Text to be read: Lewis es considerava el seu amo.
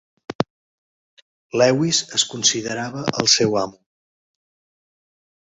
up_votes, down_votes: 2, 0